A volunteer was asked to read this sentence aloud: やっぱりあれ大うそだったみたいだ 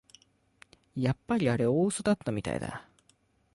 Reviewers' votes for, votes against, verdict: 2, 0, accepted